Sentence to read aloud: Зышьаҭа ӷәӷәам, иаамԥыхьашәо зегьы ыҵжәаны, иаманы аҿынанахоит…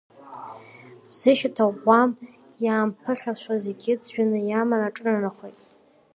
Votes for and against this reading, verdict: 1, 2, rejected